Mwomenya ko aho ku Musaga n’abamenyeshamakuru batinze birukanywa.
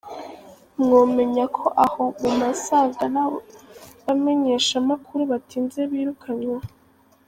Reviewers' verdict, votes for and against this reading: rejected, 1, 2